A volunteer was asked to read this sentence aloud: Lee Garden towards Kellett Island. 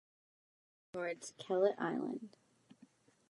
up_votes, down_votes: 0, 2